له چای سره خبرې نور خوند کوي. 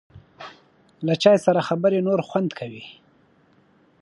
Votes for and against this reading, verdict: 2, 0, accepted